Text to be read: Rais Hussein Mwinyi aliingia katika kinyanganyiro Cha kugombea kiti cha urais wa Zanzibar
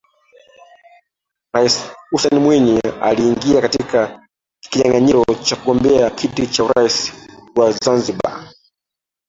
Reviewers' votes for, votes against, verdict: 0, 2, rejected